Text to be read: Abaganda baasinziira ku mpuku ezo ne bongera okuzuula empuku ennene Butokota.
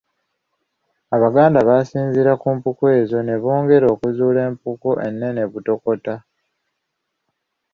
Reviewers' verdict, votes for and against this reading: accepted, 2, 0